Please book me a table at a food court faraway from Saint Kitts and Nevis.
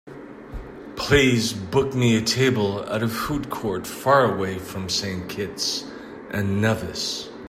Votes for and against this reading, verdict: 2, 0, accepted